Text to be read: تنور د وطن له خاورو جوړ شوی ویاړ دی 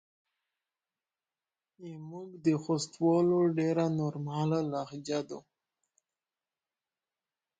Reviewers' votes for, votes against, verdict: 1, 7, rejected